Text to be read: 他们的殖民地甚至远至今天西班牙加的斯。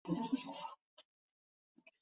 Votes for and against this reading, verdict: 3, 5, rejected